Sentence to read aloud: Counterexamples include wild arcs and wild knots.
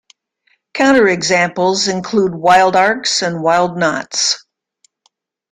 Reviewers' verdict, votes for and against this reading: accepted, 2, 0